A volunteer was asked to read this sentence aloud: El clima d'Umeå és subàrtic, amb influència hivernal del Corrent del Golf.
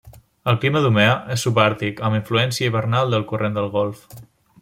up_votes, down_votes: 2, 1